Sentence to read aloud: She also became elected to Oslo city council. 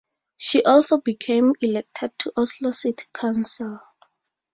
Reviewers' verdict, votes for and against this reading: accepted, 4, 0